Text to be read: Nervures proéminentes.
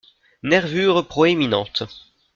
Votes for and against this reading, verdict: 2, 0, accepted